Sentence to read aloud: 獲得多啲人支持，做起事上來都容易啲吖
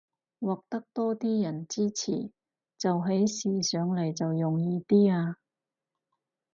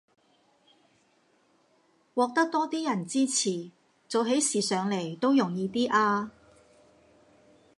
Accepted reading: first